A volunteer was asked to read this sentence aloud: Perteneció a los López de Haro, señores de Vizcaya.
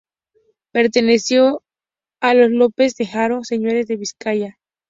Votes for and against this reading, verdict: 0, 2, rejected